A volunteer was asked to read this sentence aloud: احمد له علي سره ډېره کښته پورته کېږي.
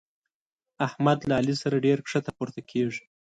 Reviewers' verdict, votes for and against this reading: accepted, 2, 0